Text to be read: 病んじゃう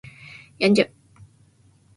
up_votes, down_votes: 2, 1